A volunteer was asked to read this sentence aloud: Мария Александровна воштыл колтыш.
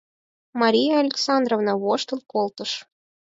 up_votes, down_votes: 4, 0